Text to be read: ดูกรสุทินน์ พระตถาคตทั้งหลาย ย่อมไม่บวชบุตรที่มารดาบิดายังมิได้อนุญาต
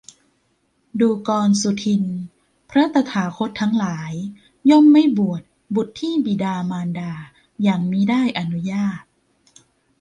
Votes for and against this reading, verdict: 1, 2, rejected